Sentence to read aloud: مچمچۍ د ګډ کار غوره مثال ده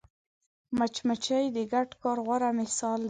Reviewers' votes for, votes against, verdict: 1, 2, rejected